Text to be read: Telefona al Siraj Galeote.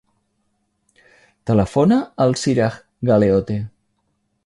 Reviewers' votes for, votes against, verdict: 5, 0, accepted